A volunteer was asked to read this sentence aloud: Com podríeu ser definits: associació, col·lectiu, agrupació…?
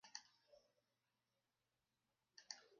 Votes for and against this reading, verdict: 0, 2, rejected